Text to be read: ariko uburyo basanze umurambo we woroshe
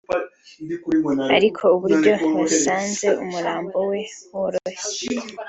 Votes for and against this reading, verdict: 2, 0, accepted